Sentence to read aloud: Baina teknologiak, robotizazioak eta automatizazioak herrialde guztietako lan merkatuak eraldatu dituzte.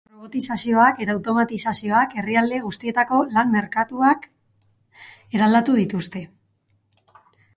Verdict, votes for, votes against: rejected, 0, 4